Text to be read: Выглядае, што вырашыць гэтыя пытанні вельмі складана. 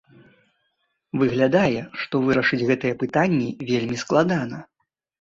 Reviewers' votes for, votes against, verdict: 2, 0, accepted